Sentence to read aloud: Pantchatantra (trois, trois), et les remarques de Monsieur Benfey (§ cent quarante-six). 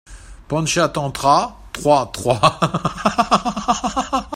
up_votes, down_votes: 0, 2